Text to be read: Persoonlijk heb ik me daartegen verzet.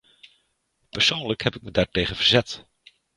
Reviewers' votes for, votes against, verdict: 1, 2, rejected